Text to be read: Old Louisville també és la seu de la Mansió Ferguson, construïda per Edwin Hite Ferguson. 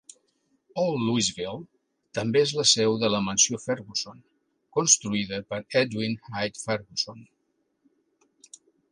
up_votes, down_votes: 2, 0